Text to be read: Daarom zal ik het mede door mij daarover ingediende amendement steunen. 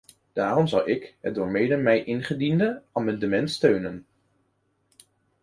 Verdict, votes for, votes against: rejected, 0, 2